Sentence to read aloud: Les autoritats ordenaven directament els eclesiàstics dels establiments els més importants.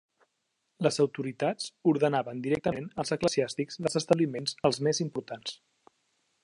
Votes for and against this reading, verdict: 2, 1, accepted